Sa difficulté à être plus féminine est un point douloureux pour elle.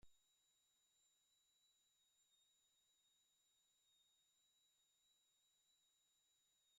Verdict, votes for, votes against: rejected, 0, 2